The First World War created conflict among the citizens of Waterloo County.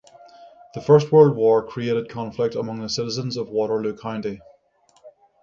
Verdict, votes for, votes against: accepted, 6, 0